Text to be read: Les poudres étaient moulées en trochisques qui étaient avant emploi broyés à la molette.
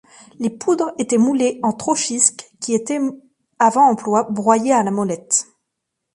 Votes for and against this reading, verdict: 0, 2, rejected